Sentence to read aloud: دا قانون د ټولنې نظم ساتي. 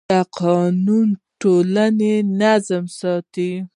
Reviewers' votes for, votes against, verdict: 0, 2, rejected